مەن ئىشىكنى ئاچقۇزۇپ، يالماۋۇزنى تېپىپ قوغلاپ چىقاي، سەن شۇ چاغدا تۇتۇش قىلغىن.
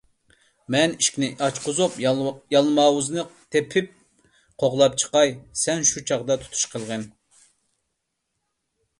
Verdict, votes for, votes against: rejected, 0, 2